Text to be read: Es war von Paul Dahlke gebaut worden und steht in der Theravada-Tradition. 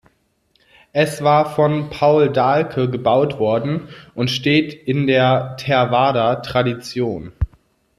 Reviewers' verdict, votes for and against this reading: rejected, 0, 2